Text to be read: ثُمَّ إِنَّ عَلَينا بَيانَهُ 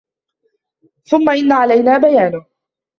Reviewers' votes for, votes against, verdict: 0, 2, rejected